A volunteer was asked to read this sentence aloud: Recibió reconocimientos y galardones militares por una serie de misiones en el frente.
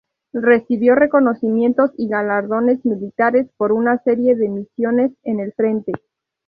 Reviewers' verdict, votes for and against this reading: accepted, 2, 0